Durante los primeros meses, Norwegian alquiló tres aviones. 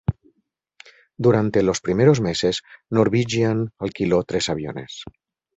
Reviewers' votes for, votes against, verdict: 4, 0, accepted